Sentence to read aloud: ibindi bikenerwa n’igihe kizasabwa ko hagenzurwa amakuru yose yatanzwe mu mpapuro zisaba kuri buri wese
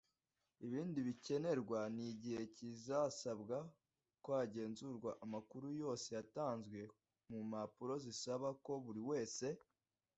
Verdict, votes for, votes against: rejected, 0, 2